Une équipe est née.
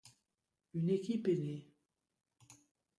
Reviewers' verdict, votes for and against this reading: accepted, 2, 0